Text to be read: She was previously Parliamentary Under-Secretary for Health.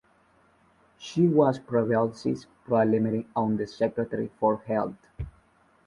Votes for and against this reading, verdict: 0, 2, rejected